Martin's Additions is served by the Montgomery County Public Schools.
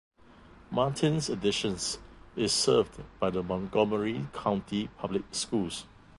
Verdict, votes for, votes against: accepted, 2, 0